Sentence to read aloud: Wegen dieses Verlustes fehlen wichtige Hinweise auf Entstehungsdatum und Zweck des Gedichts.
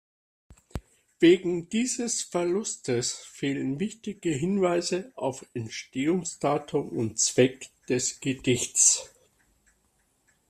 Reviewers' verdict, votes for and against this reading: accepted, 2, 0